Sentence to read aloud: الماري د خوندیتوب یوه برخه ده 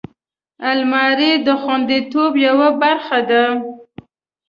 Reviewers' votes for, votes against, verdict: 2, 0, accepted